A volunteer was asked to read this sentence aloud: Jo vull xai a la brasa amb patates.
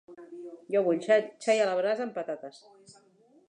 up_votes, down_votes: 1, 2